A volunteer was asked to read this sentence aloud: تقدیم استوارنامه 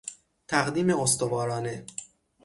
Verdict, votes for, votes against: rejected, 0, 6